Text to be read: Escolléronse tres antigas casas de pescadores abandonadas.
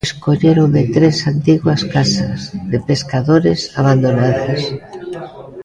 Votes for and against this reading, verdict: 0, 2, rejected